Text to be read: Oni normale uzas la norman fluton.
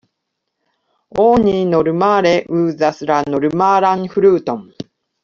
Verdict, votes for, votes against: rejected, 0, 2